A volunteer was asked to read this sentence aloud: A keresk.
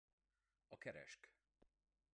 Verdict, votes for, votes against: rejected, 1, 2